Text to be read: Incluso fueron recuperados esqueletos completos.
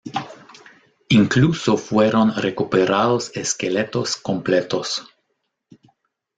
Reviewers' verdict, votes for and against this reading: rejected, 1, 2